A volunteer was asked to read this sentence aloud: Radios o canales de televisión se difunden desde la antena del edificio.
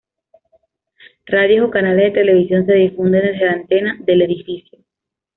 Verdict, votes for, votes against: accepted, 2, 0